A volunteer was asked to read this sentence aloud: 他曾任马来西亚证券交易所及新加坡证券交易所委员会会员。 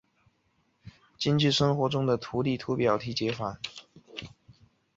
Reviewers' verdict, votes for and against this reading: rejected, 1, 3